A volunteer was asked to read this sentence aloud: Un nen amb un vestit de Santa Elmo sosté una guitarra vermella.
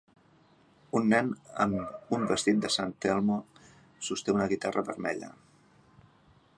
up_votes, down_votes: 1, 2